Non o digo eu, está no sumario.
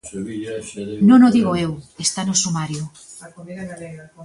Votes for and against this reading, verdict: 0, 2, rejected